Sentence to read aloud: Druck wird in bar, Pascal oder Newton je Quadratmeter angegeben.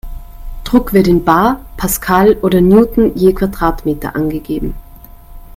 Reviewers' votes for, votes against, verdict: 2, 1, accepted